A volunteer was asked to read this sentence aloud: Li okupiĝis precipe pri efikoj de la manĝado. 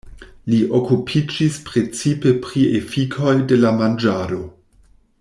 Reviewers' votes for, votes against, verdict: 1, 2, rejected